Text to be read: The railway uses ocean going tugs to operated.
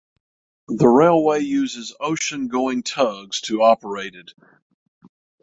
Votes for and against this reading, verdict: 0, 3, rejected